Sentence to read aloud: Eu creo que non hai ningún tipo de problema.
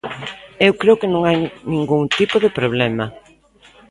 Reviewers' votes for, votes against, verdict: 2, 0, accepted